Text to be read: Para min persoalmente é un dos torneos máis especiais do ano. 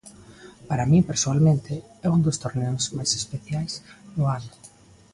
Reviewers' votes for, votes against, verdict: 3, 0, accepted